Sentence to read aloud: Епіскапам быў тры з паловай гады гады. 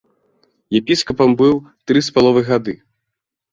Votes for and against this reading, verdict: 2, 1, accepted